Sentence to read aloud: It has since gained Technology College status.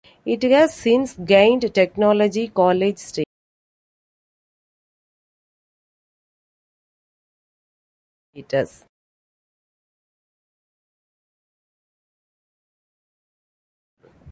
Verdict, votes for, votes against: rejected, 0, 2